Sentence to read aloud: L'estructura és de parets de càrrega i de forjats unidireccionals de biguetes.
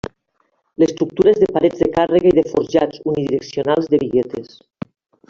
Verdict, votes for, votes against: accepted, 3, 1